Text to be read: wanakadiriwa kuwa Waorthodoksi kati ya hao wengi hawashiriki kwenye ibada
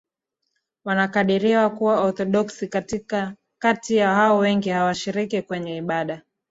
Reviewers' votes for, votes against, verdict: 14, 1, accepted